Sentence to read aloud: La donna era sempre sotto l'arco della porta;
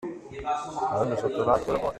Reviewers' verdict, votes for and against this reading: rejected, 0, 2